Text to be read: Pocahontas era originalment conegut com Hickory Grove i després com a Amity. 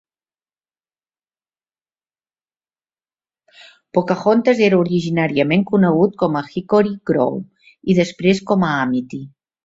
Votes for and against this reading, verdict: 2, 1, accepted